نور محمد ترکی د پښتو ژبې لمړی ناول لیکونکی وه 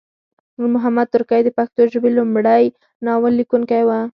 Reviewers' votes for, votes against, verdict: 4, 0, accepted